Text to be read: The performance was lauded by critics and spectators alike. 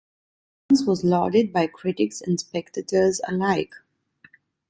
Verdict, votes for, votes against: rejected, 1, 2